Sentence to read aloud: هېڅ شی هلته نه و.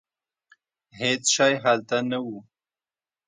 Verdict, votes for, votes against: accepted, 2, 1